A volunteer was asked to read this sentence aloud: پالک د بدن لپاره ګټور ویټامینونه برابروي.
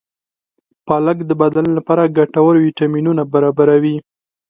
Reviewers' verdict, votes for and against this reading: accepted, 3, 0